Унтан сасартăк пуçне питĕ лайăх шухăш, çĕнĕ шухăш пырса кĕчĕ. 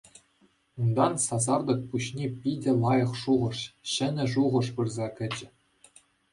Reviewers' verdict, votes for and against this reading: accepted, 2, 0